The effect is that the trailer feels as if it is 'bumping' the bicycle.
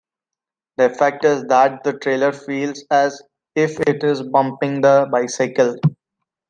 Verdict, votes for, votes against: accepted, 2, 0